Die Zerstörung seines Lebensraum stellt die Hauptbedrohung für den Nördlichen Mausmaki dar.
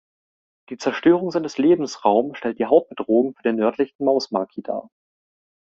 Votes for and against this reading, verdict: 3, 0, accepted